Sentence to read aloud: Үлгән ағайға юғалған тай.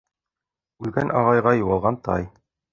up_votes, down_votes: 1, 2